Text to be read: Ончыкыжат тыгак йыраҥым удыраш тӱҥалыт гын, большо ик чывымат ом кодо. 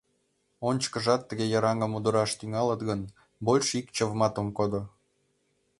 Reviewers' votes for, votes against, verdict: 1, 2, rejected